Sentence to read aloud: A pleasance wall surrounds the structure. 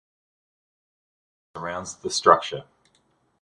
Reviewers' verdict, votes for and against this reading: rejected, 0, 2